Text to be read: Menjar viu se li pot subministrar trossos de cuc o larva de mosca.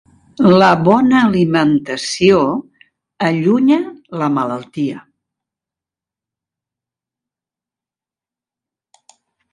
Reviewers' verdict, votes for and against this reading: rejected, 0, 2